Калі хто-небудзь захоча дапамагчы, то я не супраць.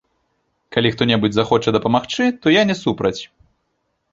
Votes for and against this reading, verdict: 0, 2, rejected